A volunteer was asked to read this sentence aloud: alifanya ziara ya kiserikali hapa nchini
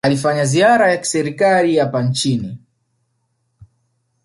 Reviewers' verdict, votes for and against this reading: accepted, 3, 0